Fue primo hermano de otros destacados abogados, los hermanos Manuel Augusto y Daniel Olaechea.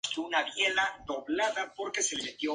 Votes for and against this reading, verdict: 0, 2, rejected